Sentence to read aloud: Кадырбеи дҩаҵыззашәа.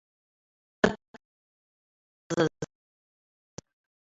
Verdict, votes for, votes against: accepted, 2, 1